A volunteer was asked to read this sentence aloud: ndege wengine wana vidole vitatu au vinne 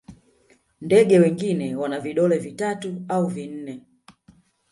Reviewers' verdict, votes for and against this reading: rejected, 0, 2